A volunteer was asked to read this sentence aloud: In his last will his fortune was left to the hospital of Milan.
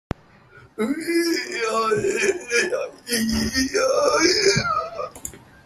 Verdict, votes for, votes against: rejected, 0, 2